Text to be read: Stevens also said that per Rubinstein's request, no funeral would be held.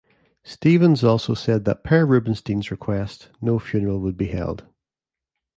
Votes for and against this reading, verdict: 0, 2, rejected